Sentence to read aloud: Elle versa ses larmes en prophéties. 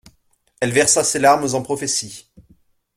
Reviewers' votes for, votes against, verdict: 2, 0, accepted